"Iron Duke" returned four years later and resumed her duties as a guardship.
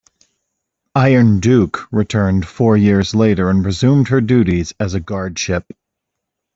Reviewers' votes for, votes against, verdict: 2, 0, accepted